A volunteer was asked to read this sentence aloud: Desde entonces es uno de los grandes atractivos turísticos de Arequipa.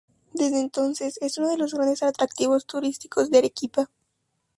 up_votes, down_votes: 2, 0